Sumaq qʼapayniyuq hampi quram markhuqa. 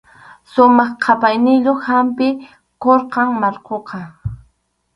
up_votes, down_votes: 2, 2